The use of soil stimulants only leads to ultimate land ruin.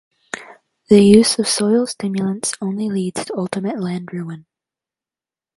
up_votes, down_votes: 2, 0